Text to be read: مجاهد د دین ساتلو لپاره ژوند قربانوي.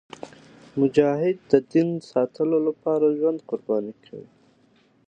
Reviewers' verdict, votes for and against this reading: accepted, 2, 0